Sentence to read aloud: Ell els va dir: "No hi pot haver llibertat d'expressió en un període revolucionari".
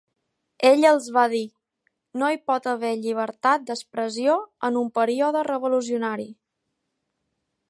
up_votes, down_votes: 1, 2